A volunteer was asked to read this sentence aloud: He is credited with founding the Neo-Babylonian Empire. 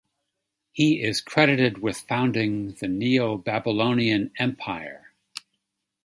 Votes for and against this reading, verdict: 2, 0, accepted